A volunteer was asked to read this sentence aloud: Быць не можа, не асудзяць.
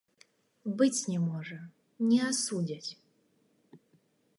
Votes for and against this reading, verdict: 2, 0, accepted